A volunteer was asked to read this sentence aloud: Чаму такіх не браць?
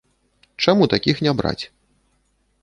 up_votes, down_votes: 2, 1